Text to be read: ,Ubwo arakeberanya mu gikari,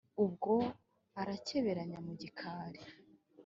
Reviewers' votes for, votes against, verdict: 2, 0, accepted